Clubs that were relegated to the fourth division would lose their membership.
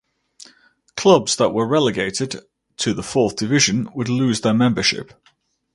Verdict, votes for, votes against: accepted, 2, 0